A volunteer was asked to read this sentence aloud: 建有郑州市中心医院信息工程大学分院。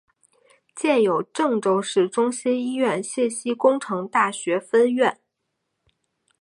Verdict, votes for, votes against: accepted, 2, 0